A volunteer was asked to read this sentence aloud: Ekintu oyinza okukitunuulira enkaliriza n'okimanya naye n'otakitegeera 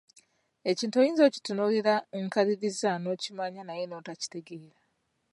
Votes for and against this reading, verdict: 2, 0, accepted